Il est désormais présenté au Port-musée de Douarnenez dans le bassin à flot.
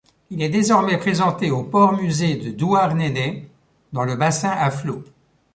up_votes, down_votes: 1, 2